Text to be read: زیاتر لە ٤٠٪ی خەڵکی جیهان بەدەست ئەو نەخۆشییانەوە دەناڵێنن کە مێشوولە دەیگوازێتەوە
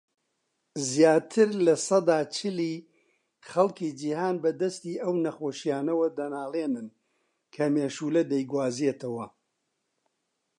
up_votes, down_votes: 0, 2